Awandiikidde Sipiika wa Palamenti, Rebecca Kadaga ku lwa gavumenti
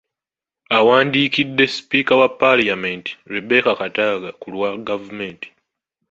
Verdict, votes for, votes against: rejected, 1, 2